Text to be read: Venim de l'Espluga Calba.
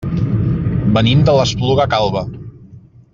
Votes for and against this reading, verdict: 2, 0, accepted